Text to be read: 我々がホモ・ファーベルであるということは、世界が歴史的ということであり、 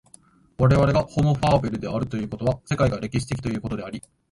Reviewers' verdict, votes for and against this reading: accepted, 2, 0